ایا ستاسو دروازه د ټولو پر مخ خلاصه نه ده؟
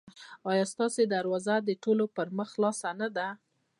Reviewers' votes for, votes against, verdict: 2, 1, accepted